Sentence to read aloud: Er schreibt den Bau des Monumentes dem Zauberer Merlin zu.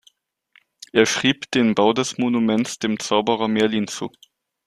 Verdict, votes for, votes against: rejected, 1, 2